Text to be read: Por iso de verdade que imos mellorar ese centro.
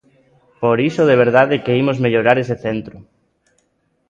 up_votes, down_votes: 0, 2